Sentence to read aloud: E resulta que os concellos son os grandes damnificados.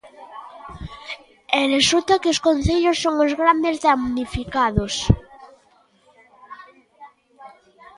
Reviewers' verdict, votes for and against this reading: rejected, 1, 2